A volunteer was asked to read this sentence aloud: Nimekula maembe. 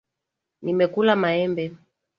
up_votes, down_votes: 2, 0